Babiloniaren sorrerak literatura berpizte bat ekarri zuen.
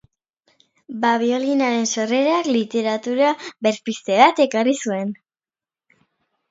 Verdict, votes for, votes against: rejected, 0, 2